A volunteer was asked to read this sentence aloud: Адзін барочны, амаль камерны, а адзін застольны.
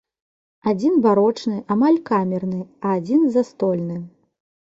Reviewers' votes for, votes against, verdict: 3, 0, accepted